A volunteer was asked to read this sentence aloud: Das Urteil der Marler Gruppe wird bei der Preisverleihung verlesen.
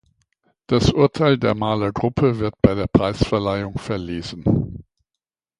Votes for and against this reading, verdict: 2, 0, accepted